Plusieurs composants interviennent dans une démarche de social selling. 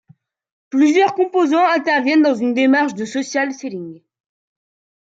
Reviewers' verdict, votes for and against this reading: rejected, 0, 2